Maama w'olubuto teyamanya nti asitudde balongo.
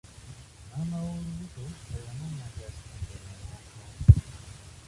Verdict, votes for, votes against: accepted, 2, 0